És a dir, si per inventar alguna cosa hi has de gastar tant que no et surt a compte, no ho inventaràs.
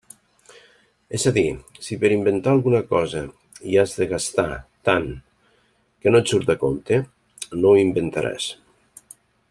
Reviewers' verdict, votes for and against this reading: accepted, 2, 0